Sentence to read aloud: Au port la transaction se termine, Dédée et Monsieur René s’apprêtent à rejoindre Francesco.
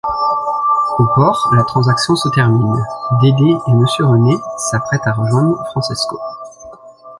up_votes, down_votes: 1, 2